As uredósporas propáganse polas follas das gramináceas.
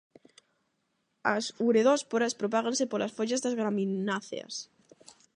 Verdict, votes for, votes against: rejected, 4, 4